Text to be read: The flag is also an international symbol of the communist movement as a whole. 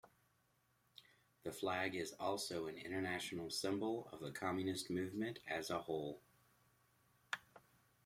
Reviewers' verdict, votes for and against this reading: accepted, 2, 0